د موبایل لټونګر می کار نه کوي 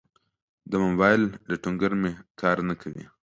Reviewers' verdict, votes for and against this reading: accepted, 2, 0